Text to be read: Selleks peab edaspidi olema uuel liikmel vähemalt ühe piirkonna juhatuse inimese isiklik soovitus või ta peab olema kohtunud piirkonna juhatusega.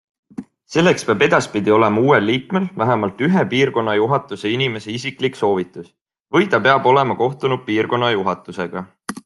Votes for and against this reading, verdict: 3, 0, accepted